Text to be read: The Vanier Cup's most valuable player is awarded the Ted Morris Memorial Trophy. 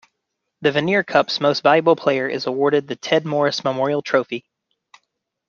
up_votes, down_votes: 2, 0